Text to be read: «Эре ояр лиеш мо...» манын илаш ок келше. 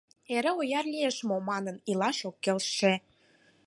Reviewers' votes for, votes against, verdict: 4, 2, accepted